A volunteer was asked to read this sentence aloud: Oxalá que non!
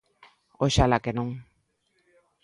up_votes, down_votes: 2, 0